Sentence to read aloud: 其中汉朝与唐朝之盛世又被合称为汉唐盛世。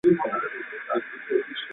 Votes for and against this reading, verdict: 2, 4, rejected